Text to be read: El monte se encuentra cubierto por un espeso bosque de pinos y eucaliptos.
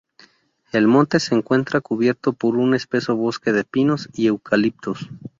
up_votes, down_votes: 2, 0